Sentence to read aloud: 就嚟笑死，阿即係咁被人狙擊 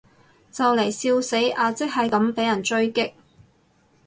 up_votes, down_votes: 2, 2